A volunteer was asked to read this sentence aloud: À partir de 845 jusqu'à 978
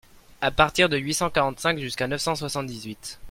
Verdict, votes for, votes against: rejected, 0, 2